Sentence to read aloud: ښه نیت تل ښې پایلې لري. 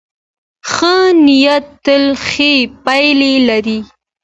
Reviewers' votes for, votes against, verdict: 2, 1, accepted